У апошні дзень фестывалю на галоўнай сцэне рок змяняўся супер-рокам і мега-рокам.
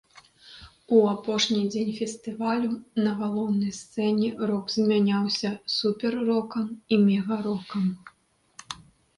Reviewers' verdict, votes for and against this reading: rejected, 1, 2